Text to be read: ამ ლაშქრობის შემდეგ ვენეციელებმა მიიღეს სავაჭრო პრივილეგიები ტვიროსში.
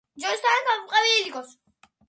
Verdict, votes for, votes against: rejected, 0, 2